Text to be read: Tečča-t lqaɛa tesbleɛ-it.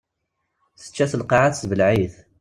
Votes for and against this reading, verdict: 2, 0, accepted